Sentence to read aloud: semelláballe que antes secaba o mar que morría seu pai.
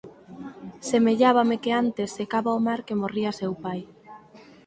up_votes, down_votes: 2, 4